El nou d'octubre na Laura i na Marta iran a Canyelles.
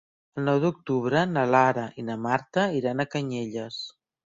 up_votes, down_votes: 1, 2